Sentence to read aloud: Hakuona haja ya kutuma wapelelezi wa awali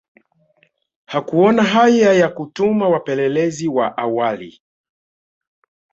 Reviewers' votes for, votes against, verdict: 1, 2, rejected